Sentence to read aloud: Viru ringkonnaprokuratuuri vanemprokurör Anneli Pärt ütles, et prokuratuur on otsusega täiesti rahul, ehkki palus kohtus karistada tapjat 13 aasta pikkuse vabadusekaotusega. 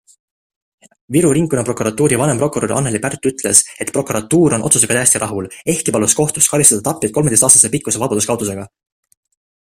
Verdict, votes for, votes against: rejected, 0, 2